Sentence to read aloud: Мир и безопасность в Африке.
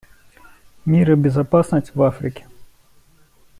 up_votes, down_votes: 2, 0